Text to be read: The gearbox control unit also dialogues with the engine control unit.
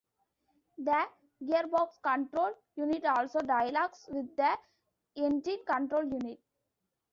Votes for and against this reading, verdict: 1, 2, rejected